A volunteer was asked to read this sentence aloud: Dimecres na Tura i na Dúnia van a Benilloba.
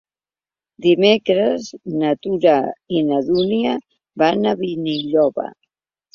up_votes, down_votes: 1, 2